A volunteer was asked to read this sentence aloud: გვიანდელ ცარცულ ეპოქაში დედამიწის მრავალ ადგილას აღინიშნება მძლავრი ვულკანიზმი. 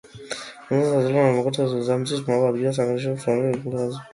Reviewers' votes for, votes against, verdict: 0, 2, rejected